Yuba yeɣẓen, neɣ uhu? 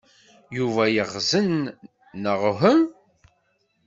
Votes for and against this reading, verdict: 1, 2, rejected